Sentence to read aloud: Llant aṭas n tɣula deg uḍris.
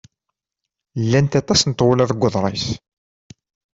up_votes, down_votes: 2, 0